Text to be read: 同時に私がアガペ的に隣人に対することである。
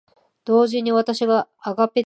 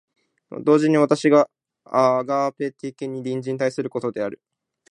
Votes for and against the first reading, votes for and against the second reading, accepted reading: 0, 2, 2, 0, second